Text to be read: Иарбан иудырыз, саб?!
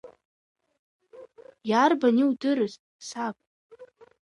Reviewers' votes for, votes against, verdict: 3, 0, accepted